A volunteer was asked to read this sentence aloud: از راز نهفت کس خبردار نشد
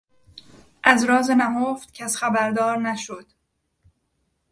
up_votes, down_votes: 2, 0